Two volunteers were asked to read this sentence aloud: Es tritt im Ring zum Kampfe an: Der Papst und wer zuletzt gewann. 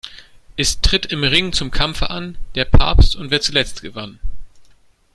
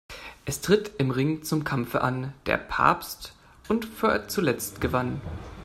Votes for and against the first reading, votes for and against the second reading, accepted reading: 2, 0, 0, 2, first